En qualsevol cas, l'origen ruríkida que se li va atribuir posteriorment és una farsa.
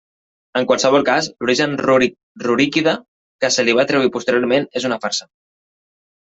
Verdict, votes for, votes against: rejected, 0, 2